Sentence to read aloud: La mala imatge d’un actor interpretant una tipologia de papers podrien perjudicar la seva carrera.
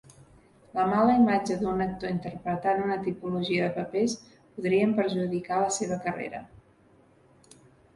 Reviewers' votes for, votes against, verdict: 0, 2, rejected